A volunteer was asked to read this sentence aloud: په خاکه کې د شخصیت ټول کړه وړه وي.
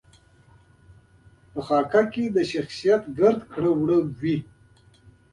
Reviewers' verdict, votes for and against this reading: accepted, 2, 0